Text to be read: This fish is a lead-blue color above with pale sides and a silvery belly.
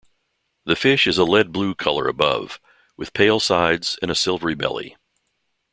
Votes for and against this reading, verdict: 1, 2, rejected